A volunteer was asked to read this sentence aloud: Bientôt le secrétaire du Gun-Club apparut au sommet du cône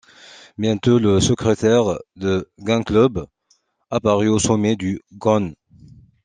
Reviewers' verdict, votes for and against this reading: rejected, 0, 2